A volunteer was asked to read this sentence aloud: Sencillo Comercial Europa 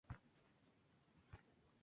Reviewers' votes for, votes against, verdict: 4, 2, accepted